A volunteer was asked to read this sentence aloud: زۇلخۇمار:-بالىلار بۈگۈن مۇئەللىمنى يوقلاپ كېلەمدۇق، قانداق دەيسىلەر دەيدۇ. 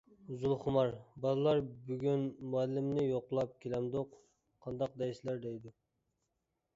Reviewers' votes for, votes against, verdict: 2, 0, accepted